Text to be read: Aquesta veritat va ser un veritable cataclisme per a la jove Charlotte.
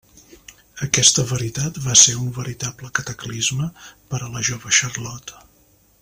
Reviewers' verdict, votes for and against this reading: accepted, 3, 0